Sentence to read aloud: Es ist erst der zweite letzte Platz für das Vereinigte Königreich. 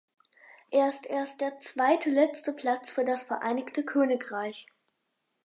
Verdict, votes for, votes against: rejected, 0, 4